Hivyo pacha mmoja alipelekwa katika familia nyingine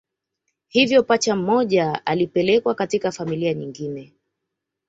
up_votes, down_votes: 2, 0